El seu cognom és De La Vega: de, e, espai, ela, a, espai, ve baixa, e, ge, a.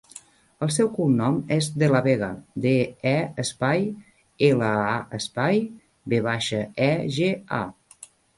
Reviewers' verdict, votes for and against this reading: rejected, 1, 2